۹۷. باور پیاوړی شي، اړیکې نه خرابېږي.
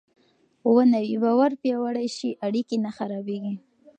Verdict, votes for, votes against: rejected, 0, 2